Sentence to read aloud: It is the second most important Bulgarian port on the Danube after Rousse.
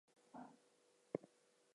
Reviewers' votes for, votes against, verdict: 0, 4, rejected